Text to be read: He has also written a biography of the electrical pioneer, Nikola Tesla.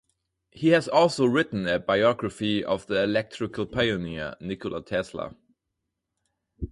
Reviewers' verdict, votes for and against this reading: accepted, 4, 0